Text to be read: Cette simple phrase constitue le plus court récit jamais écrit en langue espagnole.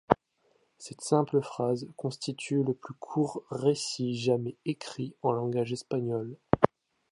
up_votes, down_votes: 1, 2